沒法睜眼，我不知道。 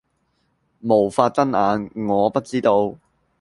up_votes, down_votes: 0, 2